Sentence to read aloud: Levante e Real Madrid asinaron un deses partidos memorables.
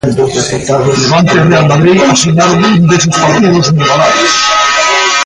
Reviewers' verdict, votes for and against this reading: rejected, 0, 2